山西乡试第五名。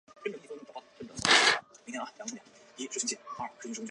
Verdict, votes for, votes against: rejected, 0, 2